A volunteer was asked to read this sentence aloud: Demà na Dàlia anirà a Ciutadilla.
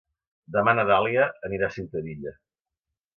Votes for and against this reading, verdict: 2, 0, accepted